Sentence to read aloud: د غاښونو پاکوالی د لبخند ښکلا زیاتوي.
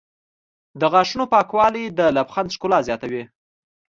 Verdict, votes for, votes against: accepted, 2, 0